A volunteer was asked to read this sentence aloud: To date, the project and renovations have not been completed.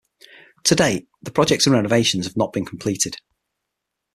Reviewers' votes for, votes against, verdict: 3, 6, rejected